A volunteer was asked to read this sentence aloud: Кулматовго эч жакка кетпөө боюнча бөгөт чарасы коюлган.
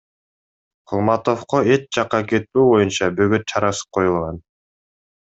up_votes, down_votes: 2, 0